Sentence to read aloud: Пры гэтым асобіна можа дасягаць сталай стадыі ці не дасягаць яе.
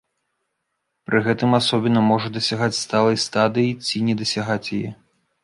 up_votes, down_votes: 2, 1